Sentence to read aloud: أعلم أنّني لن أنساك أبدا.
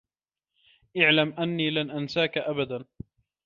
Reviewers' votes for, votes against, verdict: 0, 2, rejected